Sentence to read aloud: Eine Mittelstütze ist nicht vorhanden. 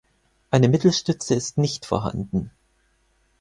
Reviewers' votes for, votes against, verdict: 4, 0, accepted